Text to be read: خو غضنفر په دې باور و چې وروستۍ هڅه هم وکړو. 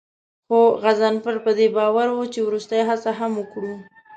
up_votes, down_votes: 2, 0